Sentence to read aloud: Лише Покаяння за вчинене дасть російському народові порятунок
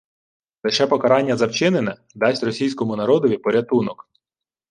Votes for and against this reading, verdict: 1, 2, rejected